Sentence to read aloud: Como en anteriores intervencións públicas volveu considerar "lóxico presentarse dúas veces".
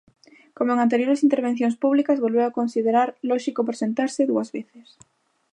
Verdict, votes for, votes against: rejected, 0, 2